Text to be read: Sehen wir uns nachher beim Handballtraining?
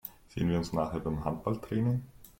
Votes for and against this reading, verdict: 1, 2, rejected